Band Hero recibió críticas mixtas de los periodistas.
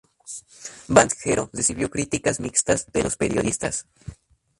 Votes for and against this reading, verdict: 2, 0, accepted